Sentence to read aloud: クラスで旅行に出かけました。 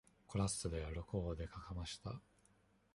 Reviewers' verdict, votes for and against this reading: rejected, 1, 2